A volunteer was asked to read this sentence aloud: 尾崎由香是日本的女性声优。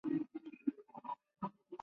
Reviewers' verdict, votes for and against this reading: rejected, 1, 3